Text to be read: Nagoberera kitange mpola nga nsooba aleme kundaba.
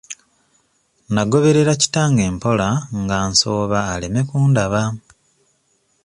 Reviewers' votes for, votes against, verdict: 2, 0, accepted